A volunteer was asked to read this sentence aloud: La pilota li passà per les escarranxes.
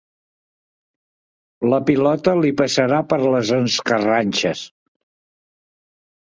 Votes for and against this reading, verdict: 0, 2, rejected